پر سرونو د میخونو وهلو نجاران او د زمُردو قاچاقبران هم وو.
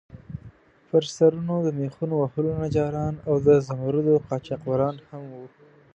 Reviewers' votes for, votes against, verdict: 2, 0, accepted